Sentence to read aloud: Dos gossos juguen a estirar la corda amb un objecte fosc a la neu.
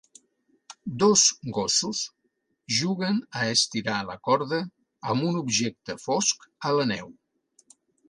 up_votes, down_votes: 3, 0